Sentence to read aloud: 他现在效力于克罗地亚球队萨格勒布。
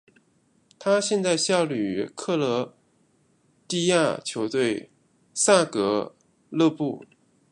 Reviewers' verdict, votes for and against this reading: rejected, 0, 2